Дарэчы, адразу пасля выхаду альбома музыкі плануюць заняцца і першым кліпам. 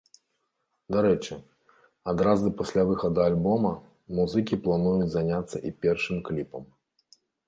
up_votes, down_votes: 2, 1